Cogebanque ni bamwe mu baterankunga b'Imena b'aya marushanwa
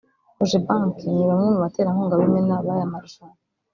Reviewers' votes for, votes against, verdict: 1, 2, rejected